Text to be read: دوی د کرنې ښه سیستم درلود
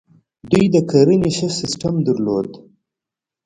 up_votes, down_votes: 0, 2